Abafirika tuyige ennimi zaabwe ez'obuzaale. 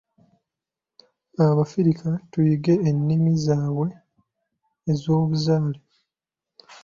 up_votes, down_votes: 2, 1